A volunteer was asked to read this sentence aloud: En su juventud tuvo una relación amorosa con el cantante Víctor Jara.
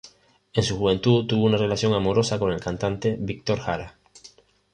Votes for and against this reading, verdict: 2, 1, accepted